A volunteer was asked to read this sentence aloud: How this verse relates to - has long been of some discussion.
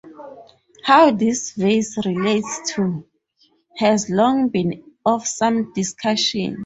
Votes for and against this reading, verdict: 2, 2, rejected